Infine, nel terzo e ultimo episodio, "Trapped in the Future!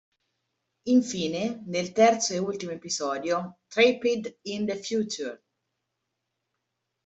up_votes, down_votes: 1, 2